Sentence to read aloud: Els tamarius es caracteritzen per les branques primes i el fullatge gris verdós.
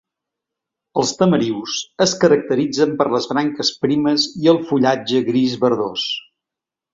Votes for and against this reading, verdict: 2, 0, accepted